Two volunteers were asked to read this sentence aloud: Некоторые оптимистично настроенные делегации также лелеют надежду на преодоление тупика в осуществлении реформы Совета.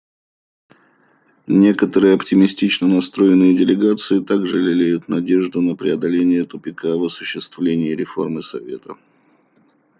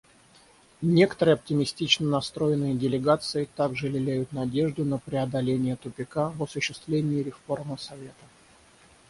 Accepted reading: first